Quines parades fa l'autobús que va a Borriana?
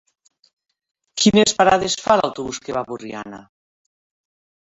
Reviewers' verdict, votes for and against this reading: rejected, 1, 2